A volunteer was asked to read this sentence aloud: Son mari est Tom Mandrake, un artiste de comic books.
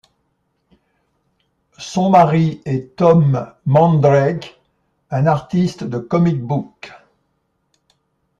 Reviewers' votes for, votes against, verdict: 2, 0, accepted